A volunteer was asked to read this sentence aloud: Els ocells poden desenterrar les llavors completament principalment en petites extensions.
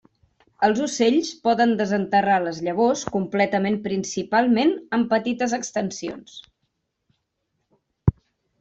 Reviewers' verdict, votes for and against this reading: accepted, 3, 0